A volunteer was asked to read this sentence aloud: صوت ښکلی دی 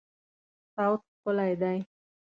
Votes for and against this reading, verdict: 2, 0, accepted